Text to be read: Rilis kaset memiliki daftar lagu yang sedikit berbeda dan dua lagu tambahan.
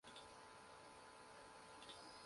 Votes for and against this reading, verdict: 0, 2, rejected